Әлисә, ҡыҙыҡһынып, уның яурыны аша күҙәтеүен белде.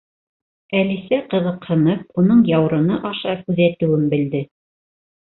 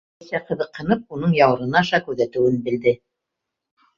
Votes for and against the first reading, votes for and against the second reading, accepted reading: 3, 0, 1, 2, first